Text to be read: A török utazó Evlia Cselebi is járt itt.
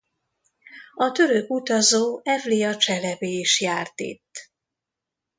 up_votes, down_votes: 2, 0